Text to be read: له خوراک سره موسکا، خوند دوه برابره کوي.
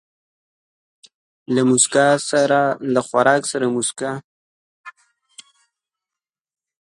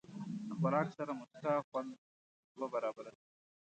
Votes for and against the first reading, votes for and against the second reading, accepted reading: 1, 2, 2, 0, second